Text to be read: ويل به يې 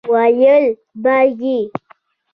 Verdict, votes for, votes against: accepted, 2, 1